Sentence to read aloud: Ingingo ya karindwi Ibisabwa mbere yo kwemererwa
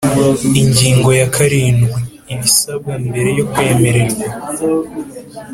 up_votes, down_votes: 2, 0